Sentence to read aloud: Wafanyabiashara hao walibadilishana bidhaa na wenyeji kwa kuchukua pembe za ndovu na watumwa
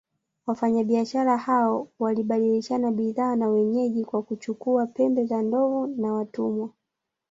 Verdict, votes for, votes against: rejected, 1, 2